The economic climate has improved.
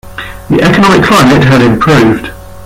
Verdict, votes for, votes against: rejected, 0, 2